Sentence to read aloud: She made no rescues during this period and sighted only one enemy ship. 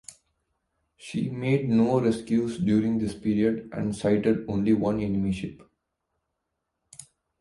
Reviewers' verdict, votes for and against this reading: accepted, 2, 0